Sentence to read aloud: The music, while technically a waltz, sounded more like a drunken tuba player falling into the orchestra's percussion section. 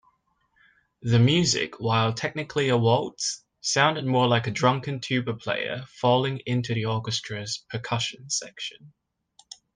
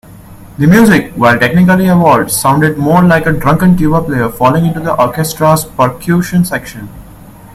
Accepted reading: first